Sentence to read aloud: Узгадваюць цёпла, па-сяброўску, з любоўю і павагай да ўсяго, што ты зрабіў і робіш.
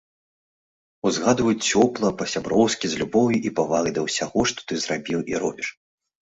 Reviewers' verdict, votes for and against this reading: accepted, 2, 0